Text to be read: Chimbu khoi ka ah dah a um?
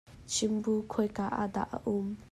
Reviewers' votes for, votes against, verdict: 2, 0, accepted